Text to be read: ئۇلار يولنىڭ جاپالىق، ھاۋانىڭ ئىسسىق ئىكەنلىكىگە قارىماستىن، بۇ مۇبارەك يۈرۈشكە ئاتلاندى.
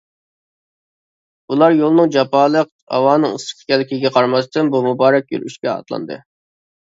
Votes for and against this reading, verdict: 2, 0, accepted